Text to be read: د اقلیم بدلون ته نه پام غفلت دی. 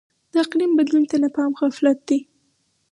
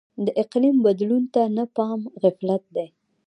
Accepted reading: first